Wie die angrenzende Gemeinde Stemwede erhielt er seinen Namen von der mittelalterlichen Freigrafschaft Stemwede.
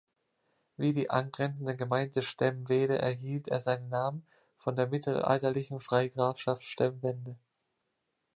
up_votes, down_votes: 0, 2